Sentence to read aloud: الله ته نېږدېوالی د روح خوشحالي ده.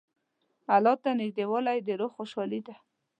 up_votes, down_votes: 2, 0